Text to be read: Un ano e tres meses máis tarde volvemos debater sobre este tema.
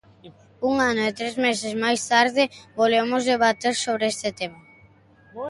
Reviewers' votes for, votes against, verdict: 2, 0, accepted